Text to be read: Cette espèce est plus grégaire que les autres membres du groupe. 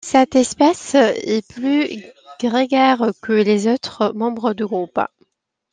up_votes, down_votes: 0, 2